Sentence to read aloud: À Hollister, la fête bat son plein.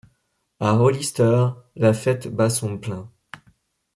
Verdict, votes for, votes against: accepted, 2, 0